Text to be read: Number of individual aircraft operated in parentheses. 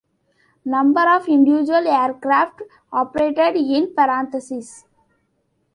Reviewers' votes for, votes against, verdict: 1, 2, rejected